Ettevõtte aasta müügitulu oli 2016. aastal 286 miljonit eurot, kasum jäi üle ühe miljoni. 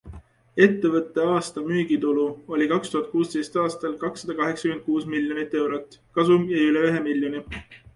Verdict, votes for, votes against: rejected, 0, 2